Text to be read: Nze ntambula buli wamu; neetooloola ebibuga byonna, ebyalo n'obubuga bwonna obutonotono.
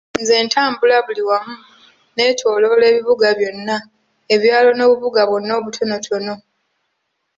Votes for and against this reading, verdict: 2, 0, accepted